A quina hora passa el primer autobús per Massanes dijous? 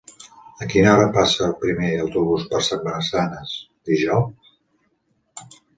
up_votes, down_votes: 2, 0